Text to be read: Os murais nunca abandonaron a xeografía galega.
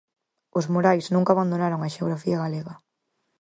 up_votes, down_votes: 6, 0